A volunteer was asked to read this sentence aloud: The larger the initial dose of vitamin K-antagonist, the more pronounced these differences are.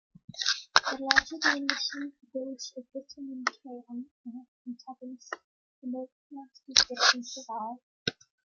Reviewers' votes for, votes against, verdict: 2, 0, accepted